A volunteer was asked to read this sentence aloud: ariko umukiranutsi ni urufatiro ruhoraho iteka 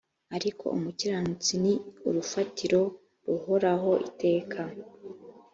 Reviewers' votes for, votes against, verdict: 2, 0, accepted